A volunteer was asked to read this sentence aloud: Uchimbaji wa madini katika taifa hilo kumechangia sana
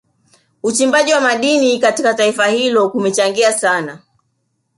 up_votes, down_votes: 2, 0